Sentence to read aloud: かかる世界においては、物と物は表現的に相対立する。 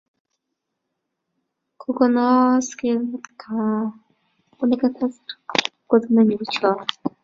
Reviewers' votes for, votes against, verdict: 0, 2, rejected